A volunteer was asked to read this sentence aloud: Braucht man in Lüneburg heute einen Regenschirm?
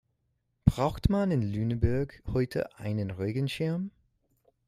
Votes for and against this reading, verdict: 0, 2, rejected